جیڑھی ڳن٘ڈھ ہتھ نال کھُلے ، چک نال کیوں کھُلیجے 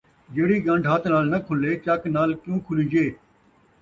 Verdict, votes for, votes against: accepted, 2, 0